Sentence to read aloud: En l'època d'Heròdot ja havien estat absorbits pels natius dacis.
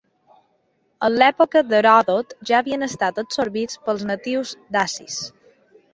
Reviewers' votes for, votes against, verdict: 2, 0, accepted